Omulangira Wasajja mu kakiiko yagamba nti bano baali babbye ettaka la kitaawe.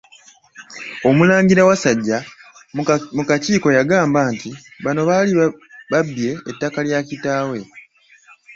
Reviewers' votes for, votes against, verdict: 0, 2, rejected